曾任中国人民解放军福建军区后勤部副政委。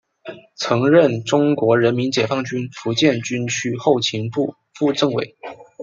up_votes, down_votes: 2, 0